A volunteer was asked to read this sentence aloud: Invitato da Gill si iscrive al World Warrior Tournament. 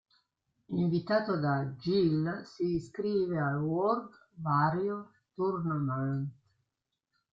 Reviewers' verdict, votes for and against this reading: rejected, 0, 2